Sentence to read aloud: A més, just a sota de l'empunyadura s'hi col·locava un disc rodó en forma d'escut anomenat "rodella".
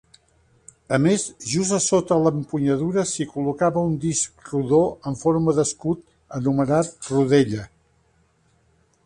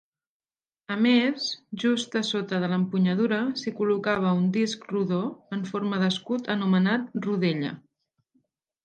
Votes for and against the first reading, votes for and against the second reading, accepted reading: 1, 2, 5, 0, second